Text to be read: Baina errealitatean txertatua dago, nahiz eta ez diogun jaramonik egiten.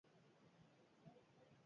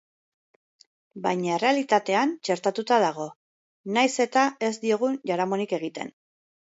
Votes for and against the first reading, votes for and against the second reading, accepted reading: 0, 4, 3, 1, second